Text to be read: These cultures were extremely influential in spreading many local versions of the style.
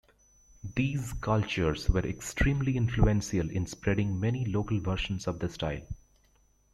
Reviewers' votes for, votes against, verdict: 2, 1, accepted